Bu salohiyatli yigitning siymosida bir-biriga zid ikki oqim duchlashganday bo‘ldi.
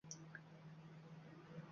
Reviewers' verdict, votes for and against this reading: accepted, 2, 1